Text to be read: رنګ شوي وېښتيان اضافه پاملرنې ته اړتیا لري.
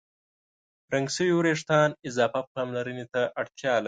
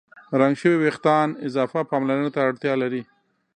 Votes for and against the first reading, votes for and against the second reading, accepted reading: 0, 2, 2, 0, second